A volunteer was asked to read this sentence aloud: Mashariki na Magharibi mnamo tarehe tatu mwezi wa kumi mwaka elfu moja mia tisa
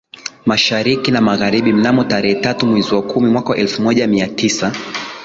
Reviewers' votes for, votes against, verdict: 2, 1, accepted